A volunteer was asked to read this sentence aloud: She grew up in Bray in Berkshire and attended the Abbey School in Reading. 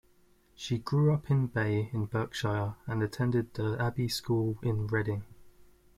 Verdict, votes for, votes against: rejected, 0, 2